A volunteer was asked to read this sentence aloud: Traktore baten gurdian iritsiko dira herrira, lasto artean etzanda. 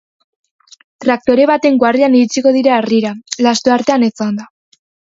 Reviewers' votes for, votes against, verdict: 0, 2, rejected